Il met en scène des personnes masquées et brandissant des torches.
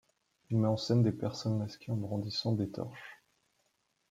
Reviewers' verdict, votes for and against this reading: rejected, 1, 2